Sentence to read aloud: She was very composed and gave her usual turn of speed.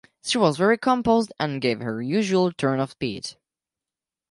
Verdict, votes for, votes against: accepted, 2, 0